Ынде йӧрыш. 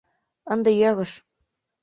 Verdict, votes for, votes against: accepted, 2, 0